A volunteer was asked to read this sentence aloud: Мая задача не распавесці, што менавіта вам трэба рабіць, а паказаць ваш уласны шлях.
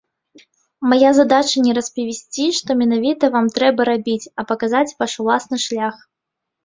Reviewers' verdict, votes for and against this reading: rejected, 1, 2